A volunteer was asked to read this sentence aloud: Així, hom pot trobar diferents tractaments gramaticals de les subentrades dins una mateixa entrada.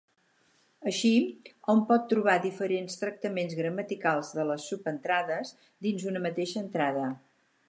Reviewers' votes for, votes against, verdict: 4, 0, accepted